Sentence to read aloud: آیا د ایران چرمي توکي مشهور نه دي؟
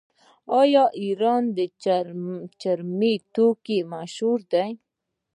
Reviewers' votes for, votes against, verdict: 1, 2, rejected